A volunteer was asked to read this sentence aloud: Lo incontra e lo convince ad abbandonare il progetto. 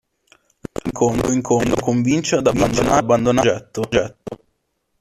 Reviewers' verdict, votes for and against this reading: rejected, 0, 2